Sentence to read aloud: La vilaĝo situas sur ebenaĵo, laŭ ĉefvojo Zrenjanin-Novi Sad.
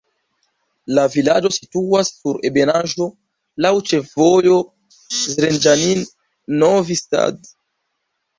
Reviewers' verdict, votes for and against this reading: rejected, 0, 2